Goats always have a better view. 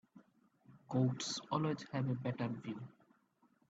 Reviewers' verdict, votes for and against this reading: rejected, 0, 2